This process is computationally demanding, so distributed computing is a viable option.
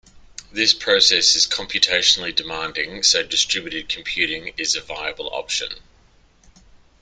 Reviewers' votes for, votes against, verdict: 2, 0, accepted